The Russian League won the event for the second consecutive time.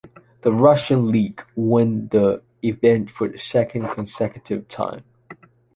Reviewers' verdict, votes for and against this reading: accepted, 2, 0